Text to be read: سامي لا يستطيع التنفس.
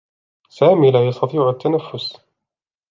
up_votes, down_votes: 0, 2